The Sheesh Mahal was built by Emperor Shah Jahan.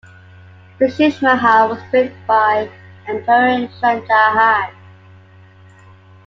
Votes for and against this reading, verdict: 2, 1, accepted